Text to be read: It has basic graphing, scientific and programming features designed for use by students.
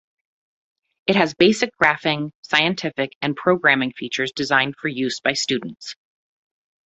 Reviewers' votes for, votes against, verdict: 2, 0, accepted